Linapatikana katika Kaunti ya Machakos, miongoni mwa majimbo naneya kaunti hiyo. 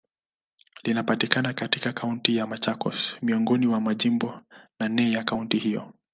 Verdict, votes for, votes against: rejected, 2, 2